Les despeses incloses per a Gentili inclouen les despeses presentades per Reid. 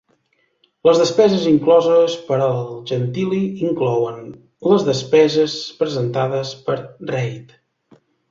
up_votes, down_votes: 1, 2